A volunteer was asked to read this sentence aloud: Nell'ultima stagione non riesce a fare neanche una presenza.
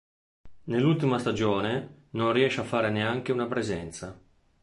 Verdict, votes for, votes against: accepted, 2, 0